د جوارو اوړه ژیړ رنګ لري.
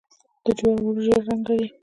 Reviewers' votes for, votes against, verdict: 0, 2, rejected